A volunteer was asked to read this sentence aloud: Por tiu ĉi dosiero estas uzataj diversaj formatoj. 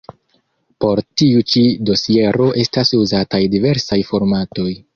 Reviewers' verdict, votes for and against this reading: accepted, 2, 0